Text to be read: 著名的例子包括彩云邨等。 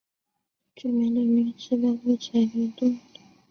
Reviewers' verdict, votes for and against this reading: accepted, 4, 0